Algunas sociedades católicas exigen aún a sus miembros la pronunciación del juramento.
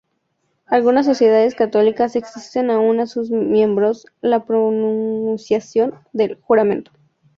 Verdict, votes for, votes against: rejected, 2, 2